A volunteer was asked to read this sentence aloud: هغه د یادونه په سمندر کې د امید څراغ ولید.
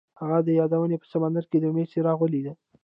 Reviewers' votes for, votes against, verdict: 1, 2, rejected